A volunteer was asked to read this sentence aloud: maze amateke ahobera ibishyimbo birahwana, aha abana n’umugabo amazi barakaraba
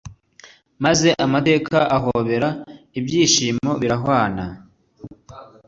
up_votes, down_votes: 1, 2